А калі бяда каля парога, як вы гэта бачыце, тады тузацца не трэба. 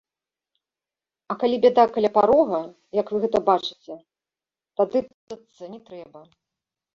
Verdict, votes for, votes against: rejected, 0, 2